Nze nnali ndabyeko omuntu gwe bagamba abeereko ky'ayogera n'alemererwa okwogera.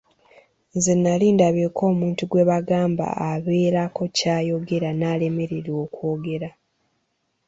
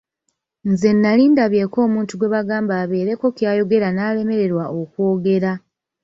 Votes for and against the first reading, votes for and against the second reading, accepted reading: 1, 2, 2, 0, second